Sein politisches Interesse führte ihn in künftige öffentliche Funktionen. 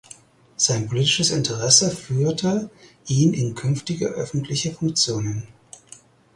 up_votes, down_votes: 4, 0